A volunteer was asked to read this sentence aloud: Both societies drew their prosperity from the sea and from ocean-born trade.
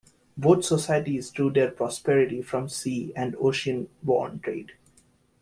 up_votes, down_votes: 0, 2